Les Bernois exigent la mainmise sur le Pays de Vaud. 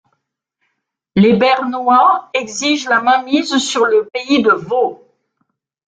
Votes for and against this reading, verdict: 2, 0, accepted